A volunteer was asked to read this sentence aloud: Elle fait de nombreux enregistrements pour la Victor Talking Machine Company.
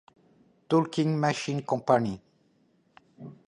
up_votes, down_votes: 2, 0